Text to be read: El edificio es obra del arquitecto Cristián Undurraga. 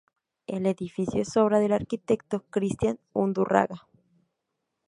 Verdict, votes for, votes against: accepted, 2, 0